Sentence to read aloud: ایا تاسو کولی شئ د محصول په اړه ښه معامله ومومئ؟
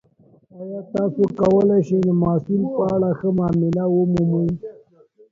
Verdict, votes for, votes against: rejected, 0, 2